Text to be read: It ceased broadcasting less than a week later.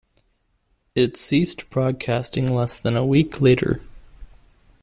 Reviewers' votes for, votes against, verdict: 2, 0, accepted